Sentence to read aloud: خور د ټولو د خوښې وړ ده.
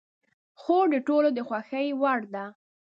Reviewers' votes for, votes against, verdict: 4, 0, accepted